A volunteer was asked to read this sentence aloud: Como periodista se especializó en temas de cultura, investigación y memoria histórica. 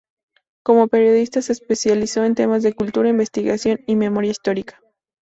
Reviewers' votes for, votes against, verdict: 4, 0, accepted